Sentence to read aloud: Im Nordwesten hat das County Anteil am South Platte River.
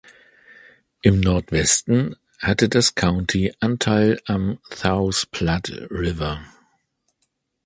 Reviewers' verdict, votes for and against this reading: rejected, 1, 3